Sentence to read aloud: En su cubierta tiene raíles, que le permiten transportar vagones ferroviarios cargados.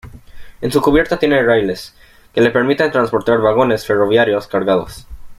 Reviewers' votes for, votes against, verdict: 2, 0, accepted